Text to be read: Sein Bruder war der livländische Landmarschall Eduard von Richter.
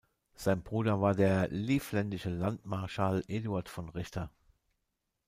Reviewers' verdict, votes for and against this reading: rejected, 0, 2